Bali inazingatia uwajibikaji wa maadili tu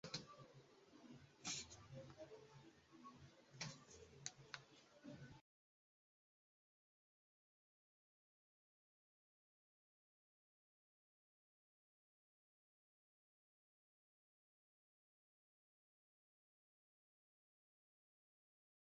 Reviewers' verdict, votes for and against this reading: rejected, 0, 2